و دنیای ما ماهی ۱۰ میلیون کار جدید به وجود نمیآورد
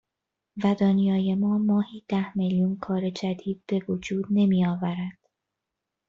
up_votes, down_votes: 0, 2